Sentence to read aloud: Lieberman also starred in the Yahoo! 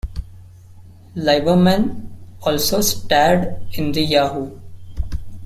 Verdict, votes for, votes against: rejected, 1, 3